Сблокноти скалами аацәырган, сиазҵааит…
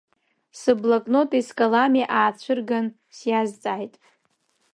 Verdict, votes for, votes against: rejected, 1, 2